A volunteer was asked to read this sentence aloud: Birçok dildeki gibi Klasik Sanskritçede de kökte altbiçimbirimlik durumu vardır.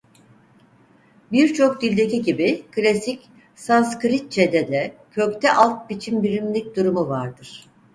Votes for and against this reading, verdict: 4, 0, accepted